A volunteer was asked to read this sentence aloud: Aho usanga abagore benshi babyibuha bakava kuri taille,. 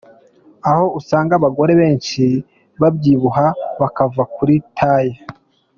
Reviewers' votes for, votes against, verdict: 3, 0, accepted